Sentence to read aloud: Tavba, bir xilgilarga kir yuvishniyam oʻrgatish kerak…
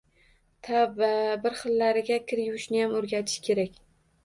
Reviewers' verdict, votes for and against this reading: accepted, 2, 0